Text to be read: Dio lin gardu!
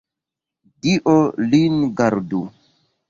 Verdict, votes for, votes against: accepted, 2, 0